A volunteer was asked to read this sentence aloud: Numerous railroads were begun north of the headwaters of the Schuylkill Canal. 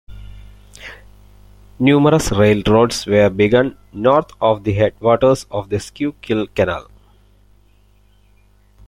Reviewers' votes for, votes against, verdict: 0, 2, rejected